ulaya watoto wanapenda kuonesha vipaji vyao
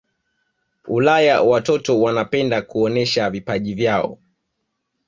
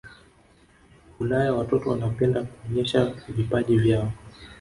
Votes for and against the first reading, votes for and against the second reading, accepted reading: 2, 0, 1, 2, first